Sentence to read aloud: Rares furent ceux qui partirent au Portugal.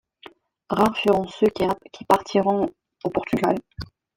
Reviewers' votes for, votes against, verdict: 0, 2, rejected